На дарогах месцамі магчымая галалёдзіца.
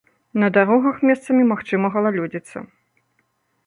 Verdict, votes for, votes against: rejected, 0, 2